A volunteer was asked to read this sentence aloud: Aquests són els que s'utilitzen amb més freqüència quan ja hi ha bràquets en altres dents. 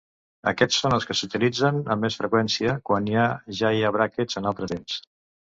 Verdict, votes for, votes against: rejected, 0, 2